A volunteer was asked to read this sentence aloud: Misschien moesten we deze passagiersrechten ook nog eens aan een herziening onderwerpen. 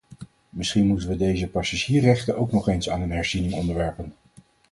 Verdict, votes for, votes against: accepted, 4, 0